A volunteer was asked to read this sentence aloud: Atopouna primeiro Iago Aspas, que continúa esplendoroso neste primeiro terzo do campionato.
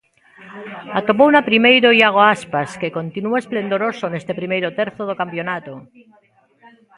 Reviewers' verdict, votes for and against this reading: rejected, 1, 2